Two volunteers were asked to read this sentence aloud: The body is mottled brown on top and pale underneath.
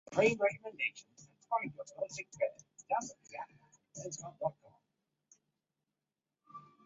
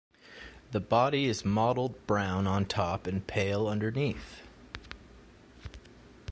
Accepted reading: second